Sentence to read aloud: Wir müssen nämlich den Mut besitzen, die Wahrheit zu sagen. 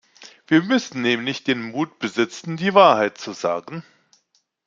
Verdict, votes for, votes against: accepted, 2, 0